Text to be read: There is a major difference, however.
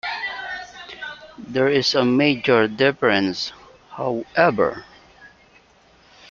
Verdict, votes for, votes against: accepted, 2, 0